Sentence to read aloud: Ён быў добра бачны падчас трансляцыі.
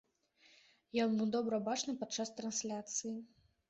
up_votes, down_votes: 2, 0